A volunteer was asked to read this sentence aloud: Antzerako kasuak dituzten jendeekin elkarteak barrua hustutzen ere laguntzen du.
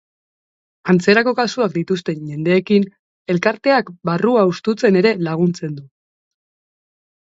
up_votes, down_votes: 2, 0